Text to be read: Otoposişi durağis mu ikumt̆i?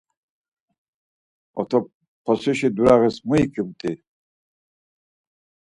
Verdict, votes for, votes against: rejected, 2, 4